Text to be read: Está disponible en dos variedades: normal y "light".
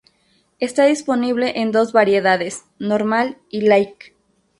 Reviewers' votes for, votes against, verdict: 2, 2, rejected